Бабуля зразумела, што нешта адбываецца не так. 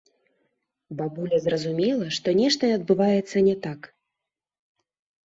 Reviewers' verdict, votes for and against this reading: rejected, 0, 3